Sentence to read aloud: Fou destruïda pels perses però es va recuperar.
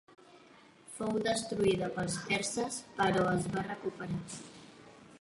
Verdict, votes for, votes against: rejected, 2, 3